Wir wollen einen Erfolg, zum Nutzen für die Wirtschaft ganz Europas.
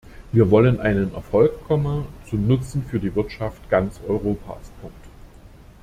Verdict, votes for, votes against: rejected, 0, 2